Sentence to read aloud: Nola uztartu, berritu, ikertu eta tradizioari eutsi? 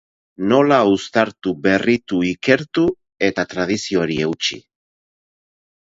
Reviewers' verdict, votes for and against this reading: accepted, 4, 0